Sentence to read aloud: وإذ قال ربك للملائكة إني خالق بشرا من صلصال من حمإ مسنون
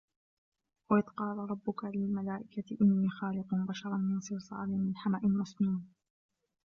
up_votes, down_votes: 0, 3